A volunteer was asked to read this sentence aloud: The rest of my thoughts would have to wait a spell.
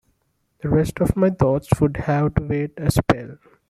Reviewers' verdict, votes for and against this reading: accepted, 2, 0